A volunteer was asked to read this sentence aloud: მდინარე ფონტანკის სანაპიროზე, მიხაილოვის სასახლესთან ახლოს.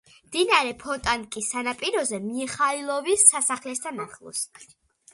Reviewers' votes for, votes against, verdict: 2, 1, accepted